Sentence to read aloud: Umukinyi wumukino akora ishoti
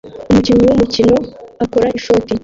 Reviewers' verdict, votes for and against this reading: rejected, 0, 2